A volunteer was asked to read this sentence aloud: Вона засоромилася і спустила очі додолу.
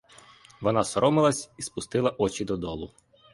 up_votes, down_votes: 2, 1